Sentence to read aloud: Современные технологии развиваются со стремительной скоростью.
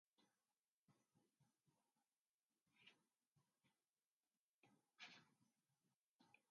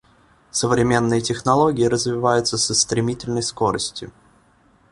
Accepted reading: second